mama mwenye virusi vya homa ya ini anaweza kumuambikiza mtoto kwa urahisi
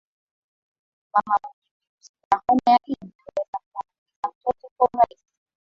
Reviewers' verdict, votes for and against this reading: rejected, 3, 6